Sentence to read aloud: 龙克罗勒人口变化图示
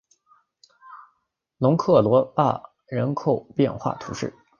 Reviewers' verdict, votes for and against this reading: rejected, 0, 2